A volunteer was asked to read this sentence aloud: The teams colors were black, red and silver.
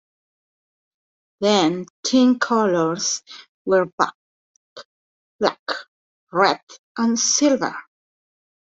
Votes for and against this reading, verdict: 0, 2, rejected